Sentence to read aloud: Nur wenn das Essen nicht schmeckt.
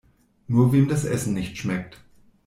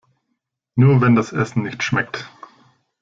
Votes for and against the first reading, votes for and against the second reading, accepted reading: 1, 2, 2, 0, second